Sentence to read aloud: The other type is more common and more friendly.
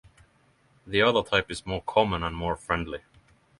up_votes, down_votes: 6, 0